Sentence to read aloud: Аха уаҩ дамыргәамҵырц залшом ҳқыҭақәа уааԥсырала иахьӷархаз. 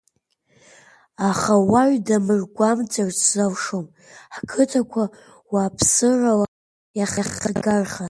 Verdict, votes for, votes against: rejected, 0, 2